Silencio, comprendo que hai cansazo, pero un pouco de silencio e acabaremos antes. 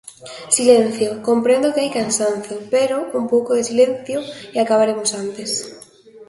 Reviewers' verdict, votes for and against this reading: rejected, 0, 2